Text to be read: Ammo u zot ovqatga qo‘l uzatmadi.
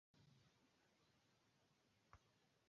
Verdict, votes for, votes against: rejected, 1, 2